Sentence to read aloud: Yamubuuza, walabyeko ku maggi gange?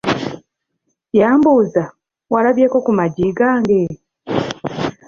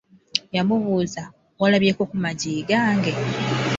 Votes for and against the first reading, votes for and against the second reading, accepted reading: 0, 2, 2, 0, second